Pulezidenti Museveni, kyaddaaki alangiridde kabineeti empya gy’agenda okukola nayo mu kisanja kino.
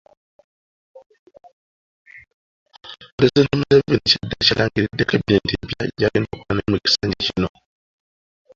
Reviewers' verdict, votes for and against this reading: rejected, 1, 3